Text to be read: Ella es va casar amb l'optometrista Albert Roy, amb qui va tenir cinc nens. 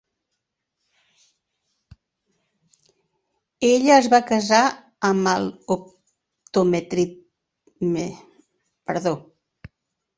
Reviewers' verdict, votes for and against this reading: rejected, 0, 2